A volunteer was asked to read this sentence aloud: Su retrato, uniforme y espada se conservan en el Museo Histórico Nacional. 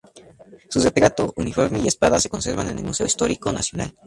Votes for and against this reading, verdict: 2, 0, accepted